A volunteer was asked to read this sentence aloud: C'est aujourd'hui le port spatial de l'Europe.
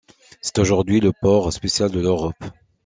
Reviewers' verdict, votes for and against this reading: rejected, 1, 2